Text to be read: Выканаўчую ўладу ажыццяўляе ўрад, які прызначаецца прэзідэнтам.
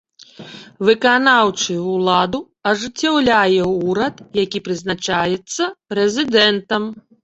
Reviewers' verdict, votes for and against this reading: rejected, 1, 2